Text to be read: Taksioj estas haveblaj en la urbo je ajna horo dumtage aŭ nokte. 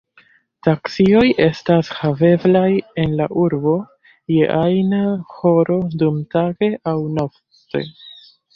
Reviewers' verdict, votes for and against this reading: accepted, 2, 0